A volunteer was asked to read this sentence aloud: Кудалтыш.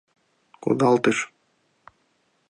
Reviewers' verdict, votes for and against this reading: accepted, 2, 0